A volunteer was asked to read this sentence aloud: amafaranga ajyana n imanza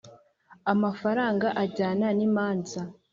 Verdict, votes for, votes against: accepted, 2, 0